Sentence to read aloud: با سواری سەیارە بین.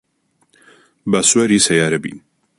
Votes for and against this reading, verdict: 2, 0, accepted